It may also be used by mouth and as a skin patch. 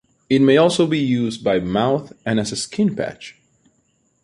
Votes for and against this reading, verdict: 2, 0, accepted